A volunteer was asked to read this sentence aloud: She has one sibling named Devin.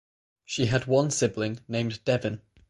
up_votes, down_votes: 3, 3